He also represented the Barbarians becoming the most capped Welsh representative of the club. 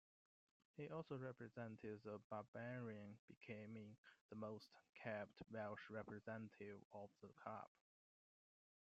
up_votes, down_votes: 2, 0